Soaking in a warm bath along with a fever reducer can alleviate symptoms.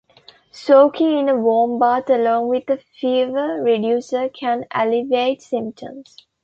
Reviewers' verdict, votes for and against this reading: accepted, 2, 0